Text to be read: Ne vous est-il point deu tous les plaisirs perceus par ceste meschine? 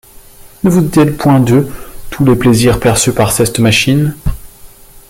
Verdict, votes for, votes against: rejected, 1, 2